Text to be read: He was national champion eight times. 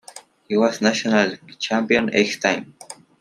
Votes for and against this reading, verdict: 2, 1, accepted